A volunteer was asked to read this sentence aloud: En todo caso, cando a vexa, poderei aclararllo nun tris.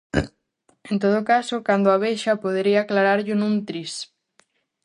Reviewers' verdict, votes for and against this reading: rejected, 0, 2